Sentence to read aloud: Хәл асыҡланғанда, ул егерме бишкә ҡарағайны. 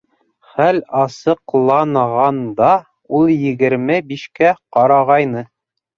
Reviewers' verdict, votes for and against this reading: rejected, 1, 2